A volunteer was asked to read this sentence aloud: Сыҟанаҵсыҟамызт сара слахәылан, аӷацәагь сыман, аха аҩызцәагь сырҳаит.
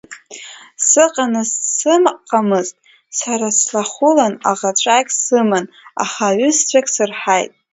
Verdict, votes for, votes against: rejected, 0, 2